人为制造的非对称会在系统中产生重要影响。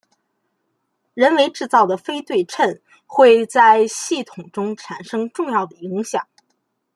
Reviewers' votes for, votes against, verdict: 0, 2, rejected